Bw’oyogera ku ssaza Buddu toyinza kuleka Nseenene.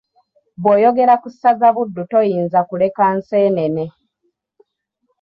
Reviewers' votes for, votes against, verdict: 2, 0, accepted